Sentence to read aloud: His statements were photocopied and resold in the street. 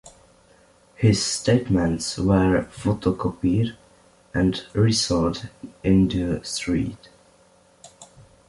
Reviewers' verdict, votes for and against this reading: accepted, 2, 0